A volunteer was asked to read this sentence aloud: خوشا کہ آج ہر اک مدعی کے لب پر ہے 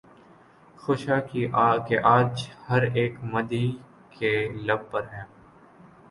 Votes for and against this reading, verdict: 2, 2, rejected